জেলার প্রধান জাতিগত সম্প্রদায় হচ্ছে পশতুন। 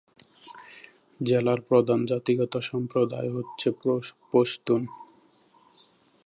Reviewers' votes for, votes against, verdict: 0, 2, rejected